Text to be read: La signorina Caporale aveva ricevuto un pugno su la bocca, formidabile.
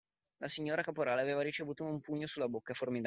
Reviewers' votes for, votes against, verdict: 0, 2, rejected